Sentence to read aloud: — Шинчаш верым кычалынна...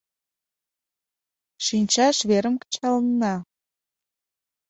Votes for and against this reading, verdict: 2, 0, accepted